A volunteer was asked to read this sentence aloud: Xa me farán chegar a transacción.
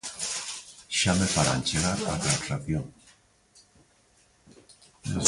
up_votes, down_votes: 2, 4